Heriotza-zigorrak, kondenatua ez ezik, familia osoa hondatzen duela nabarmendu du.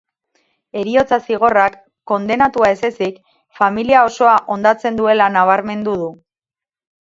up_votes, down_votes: 0, 2